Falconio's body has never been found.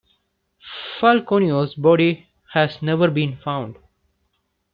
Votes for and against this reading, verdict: 2, 0, accepted